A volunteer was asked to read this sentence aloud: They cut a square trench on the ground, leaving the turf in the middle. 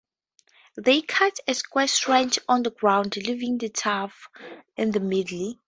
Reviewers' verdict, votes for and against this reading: rejected, 0, 2